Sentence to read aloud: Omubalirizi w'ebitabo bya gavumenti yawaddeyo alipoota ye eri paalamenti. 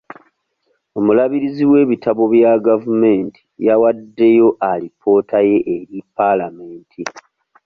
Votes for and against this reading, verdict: 0, 2, rejected